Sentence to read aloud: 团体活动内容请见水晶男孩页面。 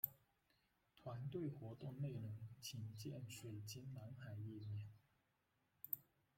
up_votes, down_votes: 0, 2